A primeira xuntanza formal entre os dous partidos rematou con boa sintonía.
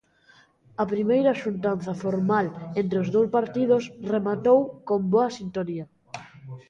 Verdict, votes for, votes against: accepted, 2, 0